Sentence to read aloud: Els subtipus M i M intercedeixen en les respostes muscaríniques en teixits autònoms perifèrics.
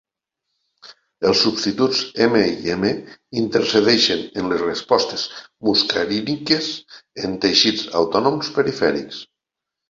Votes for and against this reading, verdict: 1, 2, rejected